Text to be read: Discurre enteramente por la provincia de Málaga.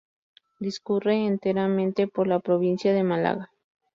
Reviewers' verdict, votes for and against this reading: accepted, 4, 0